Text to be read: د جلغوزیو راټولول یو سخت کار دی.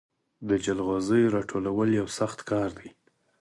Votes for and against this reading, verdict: 4, 0, accepted